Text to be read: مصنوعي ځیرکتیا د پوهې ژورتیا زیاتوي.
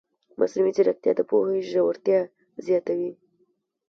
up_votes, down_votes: 1, 2